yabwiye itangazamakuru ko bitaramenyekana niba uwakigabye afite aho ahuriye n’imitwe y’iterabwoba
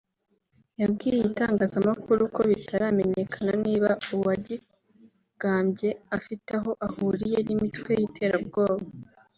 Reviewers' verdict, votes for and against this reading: rejected, 1, 2